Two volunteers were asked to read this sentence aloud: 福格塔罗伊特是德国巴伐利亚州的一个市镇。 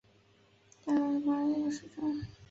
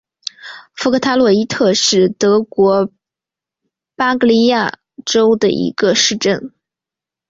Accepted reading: second